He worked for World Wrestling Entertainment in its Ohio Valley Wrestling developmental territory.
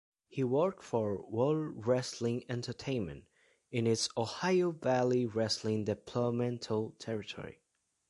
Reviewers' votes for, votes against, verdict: 0, 2, rejected